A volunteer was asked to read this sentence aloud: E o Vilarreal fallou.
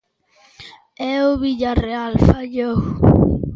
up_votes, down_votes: 1, 2